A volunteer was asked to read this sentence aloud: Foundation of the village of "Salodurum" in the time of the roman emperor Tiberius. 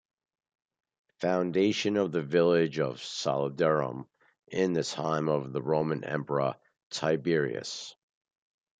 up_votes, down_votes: 2, 0